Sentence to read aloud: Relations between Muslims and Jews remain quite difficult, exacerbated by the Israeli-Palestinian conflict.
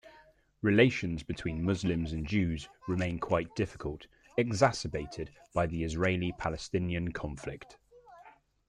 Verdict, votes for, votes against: accepted, 2, 0